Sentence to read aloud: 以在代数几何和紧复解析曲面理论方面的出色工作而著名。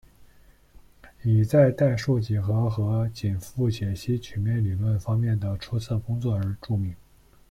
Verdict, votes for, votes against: accepted, 2, 0